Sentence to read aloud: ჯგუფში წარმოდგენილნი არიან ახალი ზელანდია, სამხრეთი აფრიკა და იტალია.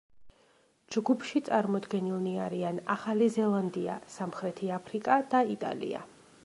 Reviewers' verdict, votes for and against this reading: accepted, 2, 0